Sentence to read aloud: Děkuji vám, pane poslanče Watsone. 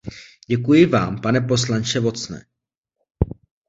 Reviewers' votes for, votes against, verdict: 2, 0, accepted